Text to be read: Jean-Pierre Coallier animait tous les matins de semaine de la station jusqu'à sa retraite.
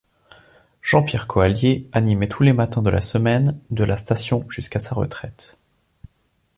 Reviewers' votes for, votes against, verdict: 1, 2, rejected